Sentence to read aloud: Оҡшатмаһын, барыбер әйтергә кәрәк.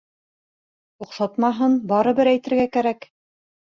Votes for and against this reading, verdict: 2, 0, accepted